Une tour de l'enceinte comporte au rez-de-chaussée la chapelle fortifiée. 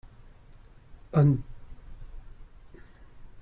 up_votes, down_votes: 0, 2